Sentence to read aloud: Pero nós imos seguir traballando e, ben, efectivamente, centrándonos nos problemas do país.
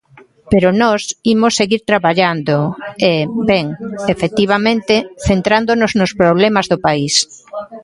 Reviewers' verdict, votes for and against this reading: accepted, 2, 0